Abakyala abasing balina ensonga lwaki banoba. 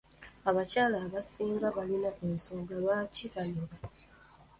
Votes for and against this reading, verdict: 1, 2, rejected